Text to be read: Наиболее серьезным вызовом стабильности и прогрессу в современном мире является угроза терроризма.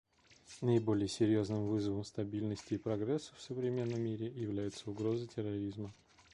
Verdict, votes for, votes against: accepted, 2, 0